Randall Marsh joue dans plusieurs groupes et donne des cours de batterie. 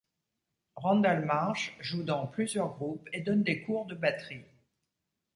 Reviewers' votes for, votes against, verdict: 2, 0, accepted